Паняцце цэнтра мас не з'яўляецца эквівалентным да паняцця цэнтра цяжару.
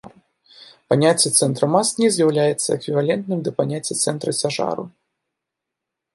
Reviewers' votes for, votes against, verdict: 1, 2, rejected